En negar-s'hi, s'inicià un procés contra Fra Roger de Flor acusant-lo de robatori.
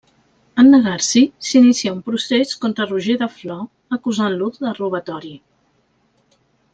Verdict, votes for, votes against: rejected, 1, 2